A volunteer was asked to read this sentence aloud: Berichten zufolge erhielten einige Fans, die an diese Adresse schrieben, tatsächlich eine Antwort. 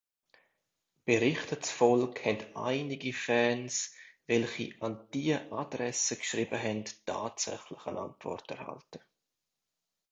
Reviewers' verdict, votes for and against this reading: rejected, 0, 2